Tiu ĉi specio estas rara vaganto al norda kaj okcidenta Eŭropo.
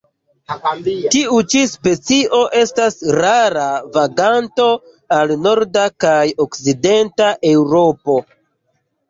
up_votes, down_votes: 2, 0